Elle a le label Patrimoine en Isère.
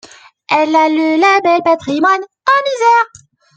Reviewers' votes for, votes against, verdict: 2, 1, accepted